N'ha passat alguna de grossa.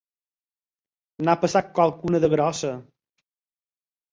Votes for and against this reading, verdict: 4, 0, accepted